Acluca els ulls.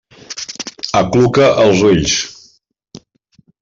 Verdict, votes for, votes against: accepted, 3, 0